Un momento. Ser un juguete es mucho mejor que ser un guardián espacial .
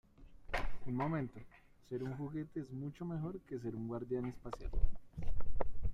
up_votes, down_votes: 1, 2